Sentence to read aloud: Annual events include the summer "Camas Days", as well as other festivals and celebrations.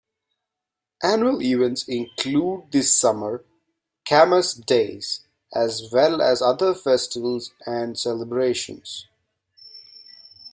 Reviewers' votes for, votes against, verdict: 2, 0, accepted